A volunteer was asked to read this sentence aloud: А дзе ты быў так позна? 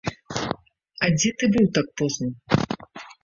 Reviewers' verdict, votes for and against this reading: rejected, 1, 2